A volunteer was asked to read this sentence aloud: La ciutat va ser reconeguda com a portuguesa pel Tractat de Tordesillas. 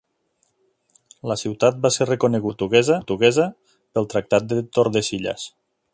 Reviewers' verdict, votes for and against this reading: rejected, 1, 3